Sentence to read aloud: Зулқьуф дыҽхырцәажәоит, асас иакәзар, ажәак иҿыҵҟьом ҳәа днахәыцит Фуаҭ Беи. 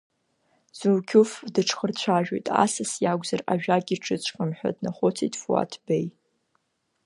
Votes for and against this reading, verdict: 2, 0, accepted